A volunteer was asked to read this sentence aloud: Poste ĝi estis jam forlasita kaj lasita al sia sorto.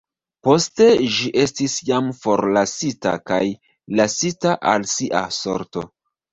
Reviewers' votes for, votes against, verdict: 0, 2, rejected